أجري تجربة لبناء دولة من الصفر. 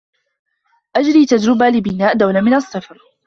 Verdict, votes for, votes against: accepted, 2, 1